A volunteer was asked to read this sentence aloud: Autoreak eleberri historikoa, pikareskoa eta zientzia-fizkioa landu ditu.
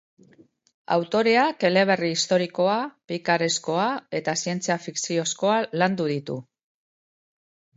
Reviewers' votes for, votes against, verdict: 1, 2, rejected